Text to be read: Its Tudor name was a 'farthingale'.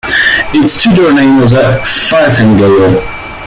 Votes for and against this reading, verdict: 0, 2, rejected